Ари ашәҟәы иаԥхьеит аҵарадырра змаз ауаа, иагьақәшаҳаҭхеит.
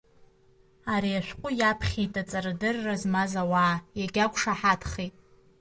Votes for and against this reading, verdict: 0, 2, rejected